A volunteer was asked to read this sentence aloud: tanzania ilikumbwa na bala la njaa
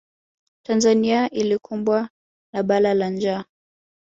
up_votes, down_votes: 1, 2